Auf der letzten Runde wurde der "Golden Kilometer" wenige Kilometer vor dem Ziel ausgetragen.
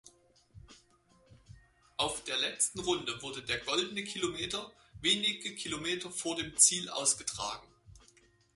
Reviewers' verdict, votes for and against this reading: rejected, 2, 4